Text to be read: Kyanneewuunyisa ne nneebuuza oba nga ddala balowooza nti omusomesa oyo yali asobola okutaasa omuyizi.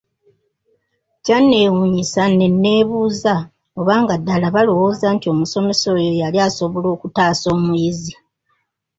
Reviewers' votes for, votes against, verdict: 3, 1, accepted